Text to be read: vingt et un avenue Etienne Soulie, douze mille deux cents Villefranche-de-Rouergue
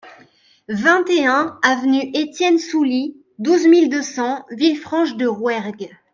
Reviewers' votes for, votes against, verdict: 2, 0, accepted